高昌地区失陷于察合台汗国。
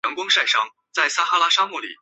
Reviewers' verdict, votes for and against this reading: rejected, 0, 5